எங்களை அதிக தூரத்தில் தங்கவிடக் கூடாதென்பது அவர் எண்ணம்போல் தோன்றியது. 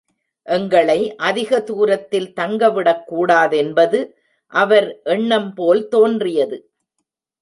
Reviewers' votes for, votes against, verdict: 2, 1, accepted